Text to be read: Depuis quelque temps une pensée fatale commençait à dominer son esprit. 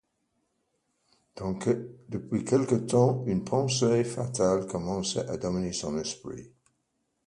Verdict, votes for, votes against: accepted, 2, 0